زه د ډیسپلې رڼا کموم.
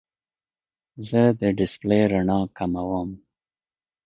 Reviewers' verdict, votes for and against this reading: accepted, 2, 0